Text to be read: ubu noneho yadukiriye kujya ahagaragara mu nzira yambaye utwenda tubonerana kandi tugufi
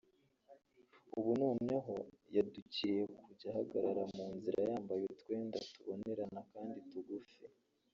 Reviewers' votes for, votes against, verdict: 1, 2, rejected